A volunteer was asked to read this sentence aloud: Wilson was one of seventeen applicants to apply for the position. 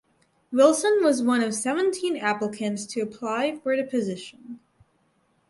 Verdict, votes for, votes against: accepted, 4, 0